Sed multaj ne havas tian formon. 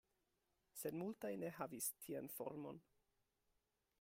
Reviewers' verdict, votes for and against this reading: rejected, 0, 2